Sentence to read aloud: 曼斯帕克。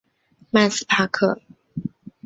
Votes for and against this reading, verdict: 2, 0, accepted